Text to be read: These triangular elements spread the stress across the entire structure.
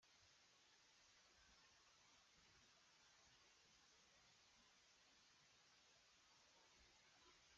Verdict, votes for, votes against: rejected, 0, 2